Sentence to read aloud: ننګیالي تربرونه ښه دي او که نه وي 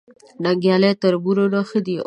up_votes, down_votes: 1, 2